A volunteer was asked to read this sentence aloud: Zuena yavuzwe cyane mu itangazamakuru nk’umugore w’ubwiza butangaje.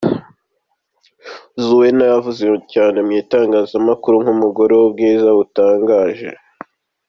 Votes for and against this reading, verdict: 2, 1, accepted